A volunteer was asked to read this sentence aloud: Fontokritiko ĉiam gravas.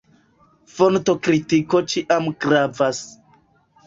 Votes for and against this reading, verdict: 2, 0, accepted